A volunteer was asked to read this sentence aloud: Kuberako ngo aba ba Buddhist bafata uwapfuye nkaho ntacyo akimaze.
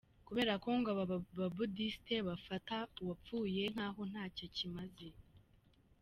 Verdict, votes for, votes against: rejected, 0, 2